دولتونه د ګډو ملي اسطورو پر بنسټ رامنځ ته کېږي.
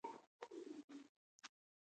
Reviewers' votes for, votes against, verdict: 0, 2, rejected